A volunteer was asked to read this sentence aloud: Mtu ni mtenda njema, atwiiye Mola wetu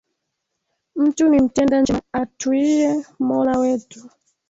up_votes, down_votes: 1, 2